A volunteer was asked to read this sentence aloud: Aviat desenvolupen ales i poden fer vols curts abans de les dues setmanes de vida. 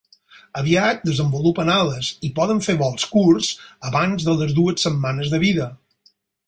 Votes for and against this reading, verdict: 6, 0, accepted